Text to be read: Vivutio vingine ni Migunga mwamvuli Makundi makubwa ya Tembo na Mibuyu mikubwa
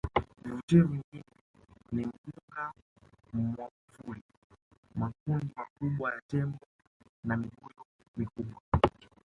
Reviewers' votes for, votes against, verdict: 1, 2, rejected